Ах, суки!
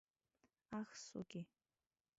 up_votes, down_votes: 0, 2